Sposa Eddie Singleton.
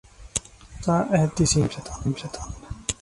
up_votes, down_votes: 0, 3